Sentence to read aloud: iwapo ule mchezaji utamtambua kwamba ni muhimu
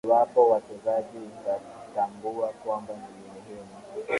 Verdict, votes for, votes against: accepted, 2, 1